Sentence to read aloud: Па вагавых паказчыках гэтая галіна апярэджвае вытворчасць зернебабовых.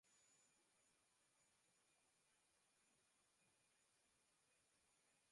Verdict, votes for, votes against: rejected, 0, 2